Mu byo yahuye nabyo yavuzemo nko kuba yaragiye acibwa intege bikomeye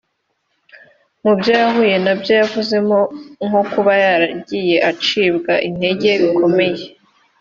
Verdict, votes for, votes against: accepted, 2, 0